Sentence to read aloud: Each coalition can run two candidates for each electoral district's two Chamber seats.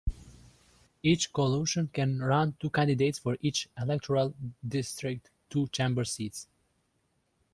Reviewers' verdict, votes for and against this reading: rejected, 1, 2